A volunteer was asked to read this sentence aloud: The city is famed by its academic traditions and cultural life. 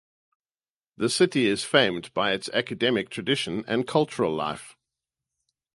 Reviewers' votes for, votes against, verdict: 2, 0, accepted